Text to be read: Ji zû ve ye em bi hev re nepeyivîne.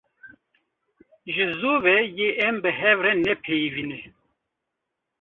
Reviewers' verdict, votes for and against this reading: rejected, 0, 2